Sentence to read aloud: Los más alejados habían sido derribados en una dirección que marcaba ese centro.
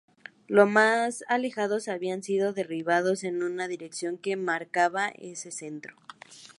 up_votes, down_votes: 4, 0